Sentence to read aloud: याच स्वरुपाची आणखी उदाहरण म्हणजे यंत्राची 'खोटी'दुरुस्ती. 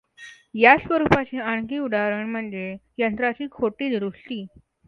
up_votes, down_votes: 2, 0